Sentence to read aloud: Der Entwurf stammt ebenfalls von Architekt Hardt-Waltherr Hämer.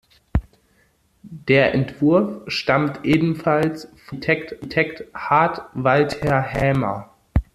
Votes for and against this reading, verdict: 0, 2, rejected